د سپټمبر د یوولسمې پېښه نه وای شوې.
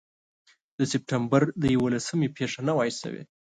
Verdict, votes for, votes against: accepted, 2, 0